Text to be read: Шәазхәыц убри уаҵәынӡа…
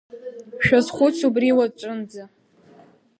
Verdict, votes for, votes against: accepted, 2, 0